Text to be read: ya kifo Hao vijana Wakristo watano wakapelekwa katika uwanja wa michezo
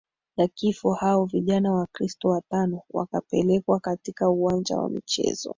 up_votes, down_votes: 3, 2